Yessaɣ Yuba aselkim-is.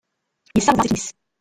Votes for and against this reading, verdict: 1, 2, rejected